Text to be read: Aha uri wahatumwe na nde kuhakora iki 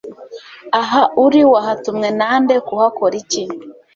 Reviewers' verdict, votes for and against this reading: accepted, 2, 0